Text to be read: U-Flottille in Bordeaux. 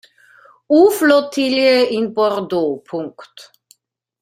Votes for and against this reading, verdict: 1, 2, rejected